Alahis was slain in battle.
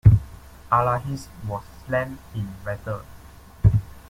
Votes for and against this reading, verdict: 2, 0, accepted